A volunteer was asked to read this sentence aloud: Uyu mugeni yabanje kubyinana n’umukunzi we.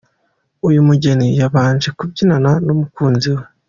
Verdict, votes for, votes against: accepted, 2, 1